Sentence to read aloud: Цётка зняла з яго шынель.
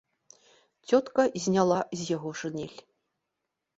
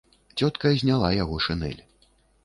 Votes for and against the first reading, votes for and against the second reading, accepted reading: 2, 0, 0, 2, first